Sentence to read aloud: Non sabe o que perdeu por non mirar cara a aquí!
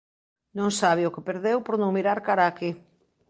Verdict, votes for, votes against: accepted, 2, 0